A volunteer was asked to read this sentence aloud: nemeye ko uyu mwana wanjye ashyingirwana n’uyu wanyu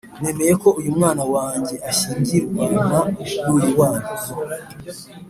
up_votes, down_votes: 2, 0